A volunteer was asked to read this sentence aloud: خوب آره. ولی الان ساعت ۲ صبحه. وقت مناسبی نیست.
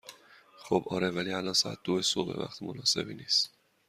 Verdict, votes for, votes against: rejected, 0, 2